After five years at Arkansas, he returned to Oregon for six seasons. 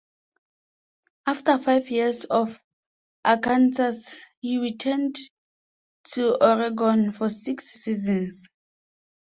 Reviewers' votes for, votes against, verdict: 1, 2, rejected